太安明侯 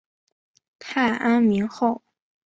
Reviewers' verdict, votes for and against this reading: accepted, 2, 0